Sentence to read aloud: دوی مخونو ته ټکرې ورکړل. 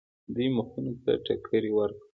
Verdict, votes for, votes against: accepted, 2, 1